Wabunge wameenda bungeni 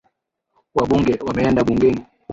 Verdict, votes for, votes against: accepted, 6, 3